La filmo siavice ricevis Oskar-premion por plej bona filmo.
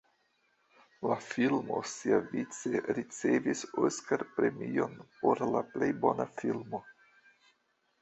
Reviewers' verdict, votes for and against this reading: rejected, 1, 2